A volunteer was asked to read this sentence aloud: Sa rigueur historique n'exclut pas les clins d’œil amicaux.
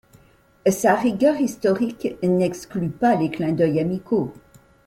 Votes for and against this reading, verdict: 2, 1, accepted